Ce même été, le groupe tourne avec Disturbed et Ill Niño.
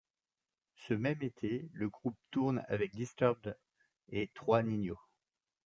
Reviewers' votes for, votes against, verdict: 1, 2, rejected